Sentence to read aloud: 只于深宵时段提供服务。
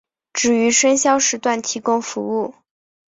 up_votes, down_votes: 4, 0